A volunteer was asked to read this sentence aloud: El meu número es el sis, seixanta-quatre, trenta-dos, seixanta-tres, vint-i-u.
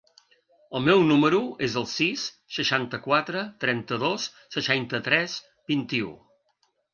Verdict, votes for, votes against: accepted, 2, 0